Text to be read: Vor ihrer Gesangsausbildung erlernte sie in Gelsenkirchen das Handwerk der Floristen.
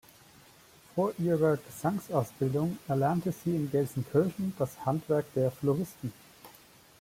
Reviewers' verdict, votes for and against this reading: accepted, 2, 0